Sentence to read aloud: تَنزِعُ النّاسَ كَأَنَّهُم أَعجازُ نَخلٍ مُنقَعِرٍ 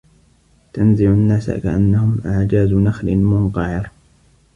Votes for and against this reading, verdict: 2, 0, accepted